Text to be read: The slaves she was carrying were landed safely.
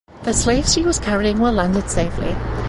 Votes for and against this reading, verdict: 2, 0, accepted